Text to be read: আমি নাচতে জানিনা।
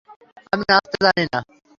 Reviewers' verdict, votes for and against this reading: rejected, 0, 3